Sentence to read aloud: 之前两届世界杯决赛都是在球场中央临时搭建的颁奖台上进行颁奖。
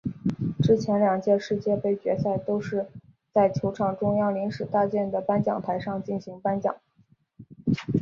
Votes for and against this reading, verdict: 2, 0, accepted